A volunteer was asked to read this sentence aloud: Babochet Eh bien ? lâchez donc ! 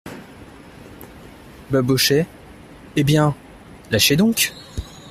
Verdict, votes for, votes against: accepted, 2, 0